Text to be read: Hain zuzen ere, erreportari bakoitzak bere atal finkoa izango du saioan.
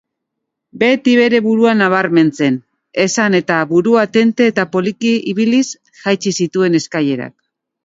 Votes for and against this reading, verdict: 0, 2, rejected